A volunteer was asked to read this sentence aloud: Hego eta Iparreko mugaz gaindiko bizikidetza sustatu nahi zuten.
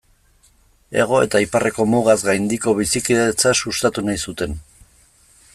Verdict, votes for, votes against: accepted, 2, 0